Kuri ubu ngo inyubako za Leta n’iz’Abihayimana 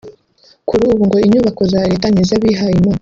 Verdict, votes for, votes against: rejected, 0, 3